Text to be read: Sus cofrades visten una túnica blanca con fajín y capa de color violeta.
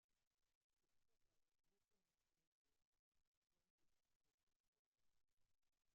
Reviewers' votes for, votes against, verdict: 0, 2, rejected